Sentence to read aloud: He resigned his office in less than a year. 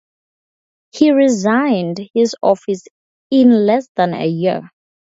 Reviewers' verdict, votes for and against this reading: rejected, 0, 2